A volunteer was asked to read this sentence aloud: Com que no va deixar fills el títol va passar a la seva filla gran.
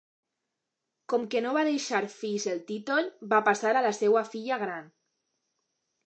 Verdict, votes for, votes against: rejected, 1, 2